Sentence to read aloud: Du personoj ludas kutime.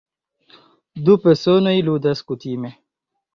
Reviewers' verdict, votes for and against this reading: accepted, 2, 1